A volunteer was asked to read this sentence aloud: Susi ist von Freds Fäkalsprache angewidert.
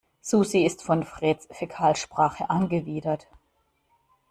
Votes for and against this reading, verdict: 1, 2, rejected